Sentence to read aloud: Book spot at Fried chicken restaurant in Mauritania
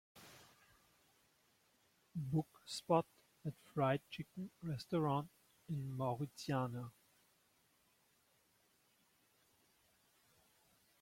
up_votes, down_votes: 0, 2